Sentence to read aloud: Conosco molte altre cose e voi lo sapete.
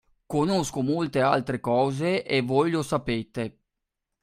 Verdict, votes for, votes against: accepted, 2, 0